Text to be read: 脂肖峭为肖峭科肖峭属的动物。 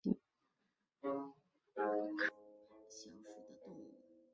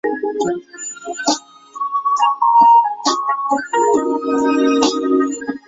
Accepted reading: first